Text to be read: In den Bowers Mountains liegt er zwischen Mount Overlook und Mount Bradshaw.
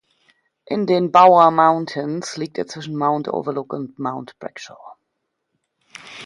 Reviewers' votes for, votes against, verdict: 1, 2, rejected